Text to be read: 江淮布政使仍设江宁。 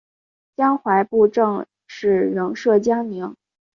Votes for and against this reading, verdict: 2, 0, accepted